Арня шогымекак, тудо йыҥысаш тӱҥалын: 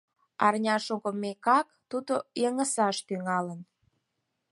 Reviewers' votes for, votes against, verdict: 4, 0, accepted